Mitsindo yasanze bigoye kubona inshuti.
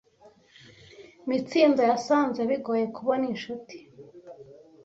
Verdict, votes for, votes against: accepted, 2, 0